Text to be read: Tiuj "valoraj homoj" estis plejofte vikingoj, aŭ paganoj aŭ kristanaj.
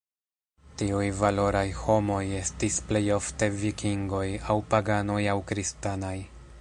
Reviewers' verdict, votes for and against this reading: rejected, 0, 2